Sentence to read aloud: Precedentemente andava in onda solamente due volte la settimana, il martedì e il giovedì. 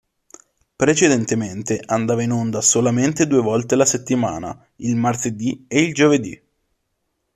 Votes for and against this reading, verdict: 2, 0, accepted